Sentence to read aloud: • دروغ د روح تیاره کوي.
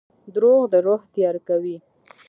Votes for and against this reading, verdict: 2, 1, accepted